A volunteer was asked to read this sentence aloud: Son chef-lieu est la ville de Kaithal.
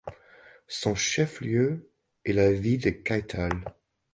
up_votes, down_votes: 2, 0